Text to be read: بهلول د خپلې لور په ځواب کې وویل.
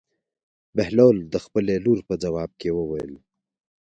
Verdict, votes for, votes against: accepted, 2, 0